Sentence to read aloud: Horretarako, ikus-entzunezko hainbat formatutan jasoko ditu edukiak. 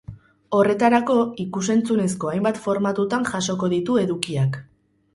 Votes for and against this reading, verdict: 4, 2, accepted